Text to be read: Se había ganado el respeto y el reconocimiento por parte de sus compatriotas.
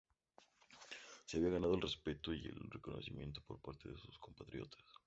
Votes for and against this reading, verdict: 2, 0, accepted